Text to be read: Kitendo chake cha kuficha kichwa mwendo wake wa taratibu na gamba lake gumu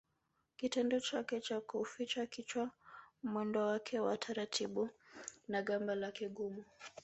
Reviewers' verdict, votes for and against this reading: rejected, 1, 2